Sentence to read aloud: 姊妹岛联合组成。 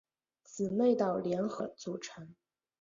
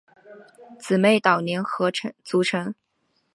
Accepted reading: first